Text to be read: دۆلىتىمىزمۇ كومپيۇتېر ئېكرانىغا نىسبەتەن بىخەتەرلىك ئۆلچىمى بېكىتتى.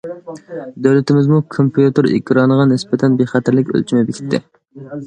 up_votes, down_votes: 2, 0